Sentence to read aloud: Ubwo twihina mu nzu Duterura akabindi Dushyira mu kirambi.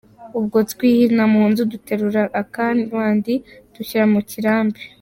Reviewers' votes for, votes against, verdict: 0, 2, rejected